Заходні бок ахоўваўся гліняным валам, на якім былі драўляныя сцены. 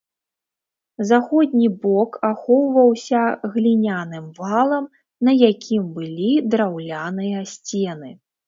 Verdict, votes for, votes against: accepted, 2, 0